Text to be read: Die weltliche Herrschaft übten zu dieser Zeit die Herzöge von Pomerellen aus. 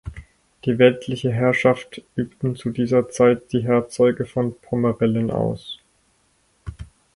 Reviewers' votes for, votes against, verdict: 2, 4, rejected